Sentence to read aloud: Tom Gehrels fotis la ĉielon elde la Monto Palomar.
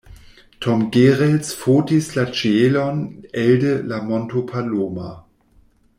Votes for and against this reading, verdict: 0, 2, rejected